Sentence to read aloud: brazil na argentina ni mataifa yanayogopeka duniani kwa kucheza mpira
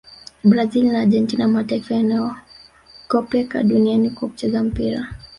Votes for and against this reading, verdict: 3, 0, accepted